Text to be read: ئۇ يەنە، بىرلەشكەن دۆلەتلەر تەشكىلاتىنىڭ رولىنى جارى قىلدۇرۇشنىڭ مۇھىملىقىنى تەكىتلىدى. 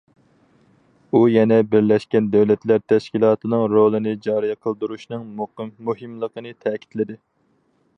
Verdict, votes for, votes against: rejected, 0, 4